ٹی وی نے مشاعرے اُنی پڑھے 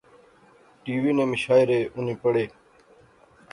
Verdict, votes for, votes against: accepted, 2, 0